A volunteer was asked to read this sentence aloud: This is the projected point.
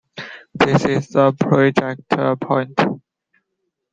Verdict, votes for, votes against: accepted, 2, 1